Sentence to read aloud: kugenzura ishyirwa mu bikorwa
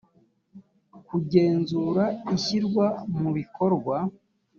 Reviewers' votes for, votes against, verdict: 3, 0, accepted